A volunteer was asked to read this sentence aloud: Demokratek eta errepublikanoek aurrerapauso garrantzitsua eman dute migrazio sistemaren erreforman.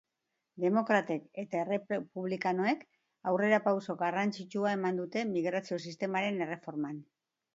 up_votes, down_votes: 0, 2